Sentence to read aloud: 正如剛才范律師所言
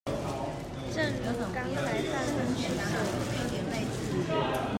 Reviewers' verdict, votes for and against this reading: rejected, 0, 2